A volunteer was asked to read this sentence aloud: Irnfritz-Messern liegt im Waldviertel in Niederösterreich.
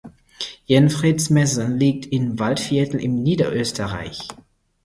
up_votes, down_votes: 4, 2